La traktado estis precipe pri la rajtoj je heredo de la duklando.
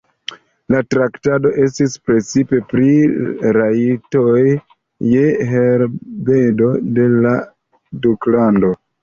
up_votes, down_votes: 0, 2